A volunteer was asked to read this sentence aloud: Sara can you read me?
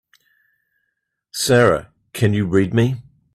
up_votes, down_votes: 2, 0